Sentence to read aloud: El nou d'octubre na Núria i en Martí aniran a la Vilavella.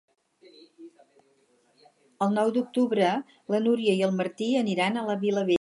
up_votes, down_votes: 0, 4